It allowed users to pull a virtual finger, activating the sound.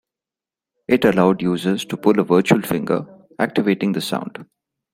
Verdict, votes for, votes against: accepted, 2, 0